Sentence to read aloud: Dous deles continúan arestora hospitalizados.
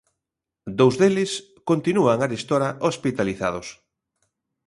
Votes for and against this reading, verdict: 2, 0, accepted